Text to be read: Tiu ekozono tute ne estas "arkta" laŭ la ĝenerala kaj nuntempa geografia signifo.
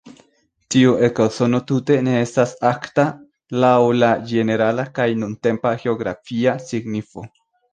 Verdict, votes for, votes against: accepted, 2, 1